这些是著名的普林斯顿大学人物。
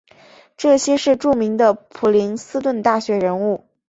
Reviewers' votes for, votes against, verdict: 3, 0, accepted